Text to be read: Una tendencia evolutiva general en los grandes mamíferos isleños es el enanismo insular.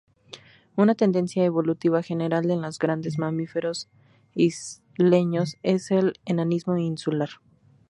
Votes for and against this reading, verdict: 2, 0, accepted